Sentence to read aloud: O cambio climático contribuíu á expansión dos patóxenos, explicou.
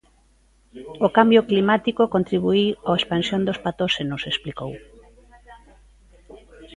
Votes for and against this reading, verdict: 2, 1, accepted